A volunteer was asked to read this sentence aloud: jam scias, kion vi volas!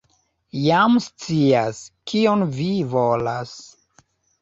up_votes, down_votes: 1, 2